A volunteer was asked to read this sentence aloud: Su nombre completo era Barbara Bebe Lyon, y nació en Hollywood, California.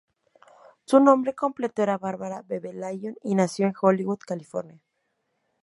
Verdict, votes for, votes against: rejected, 0, 2